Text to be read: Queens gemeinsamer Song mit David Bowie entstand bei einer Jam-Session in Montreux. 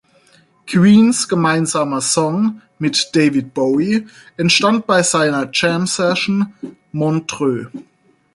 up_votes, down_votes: 0, 6